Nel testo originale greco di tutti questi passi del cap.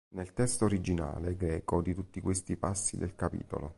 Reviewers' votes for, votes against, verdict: 0, 2, rejected